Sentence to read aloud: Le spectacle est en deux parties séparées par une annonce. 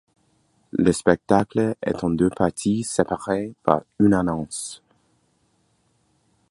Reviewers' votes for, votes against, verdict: 2, 0, accepted